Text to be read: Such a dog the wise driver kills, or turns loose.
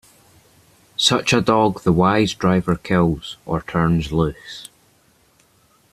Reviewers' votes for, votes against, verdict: 1, 2, rejected